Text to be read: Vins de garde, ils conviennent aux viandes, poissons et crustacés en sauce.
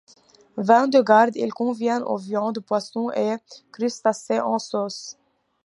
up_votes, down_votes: 1, 2